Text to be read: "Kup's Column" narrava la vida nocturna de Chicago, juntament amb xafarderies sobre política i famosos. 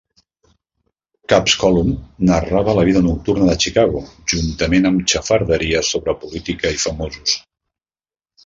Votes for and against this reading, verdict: 2, 0, accepted